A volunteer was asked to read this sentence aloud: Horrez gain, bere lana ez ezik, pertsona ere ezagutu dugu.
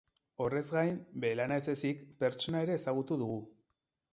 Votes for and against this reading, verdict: 6, 0, accepted